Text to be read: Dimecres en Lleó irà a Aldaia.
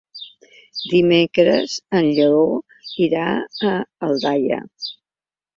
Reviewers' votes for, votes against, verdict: 3, 1, accepted